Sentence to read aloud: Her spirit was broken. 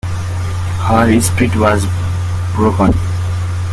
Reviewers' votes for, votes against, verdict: 1, 2, rejected